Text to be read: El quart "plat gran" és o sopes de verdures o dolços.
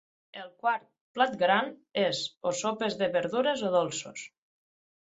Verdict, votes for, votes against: accepted, 6, 0